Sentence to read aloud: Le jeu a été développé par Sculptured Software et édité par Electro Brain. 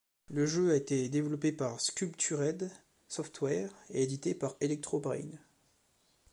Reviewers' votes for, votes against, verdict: 2, 0, accepted